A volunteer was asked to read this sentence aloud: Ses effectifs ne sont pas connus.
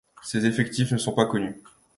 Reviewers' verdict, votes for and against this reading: accepted, 2, 0